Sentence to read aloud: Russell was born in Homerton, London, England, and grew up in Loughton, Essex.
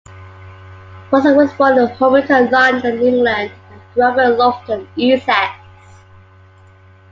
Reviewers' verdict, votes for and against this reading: accepted, 2, 1